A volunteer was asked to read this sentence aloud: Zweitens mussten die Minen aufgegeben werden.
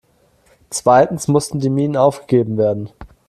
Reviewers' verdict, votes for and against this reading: accepted, 2, 0